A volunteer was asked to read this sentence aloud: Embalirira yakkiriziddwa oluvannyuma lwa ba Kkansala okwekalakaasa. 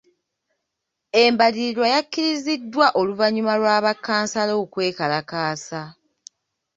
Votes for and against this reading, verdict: 1, 2, rejected